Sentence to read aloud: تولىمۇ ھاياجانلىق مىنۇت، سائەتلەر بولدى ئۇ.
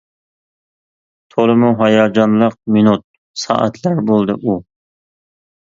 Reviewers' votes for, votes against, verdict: 2, 0, accepted